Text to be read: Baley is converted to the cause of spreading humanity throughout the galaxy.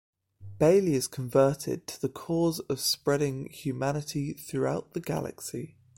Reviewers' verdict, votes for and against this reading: accepted, 2, 0